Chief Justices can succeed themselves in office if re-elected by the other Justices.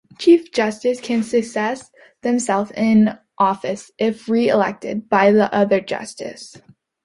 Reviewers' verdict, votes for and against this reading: rejected, 0, 2